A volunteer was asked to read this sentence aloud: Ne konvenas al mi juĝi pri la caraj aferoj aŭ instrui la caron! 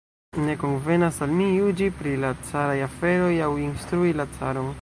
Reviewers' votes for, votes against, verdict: 1, 2, rejected